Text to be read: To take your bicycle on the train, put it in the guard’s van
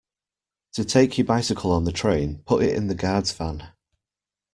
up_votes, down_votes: 2, 0